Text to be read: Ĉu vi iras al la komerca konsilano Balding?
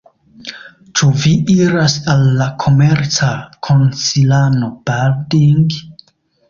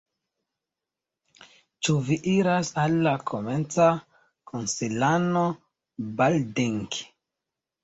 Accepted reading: first